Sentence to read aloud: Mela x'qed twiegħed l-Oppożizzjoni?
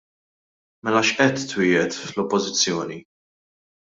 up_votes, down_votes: 1, 2